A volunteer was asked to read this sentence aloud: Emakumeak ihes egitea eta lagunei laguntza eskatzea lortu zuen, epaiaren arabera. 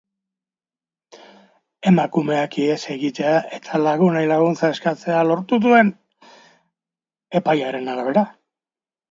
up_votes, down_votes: 2, 0